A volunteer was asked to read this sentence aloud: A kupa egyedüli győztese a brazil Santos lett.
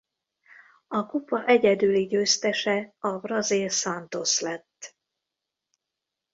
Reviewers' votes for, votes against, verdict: 2, 0, accepted